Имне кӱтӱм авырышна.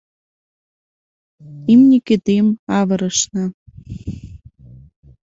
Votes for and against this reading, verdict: 2, 0, accepted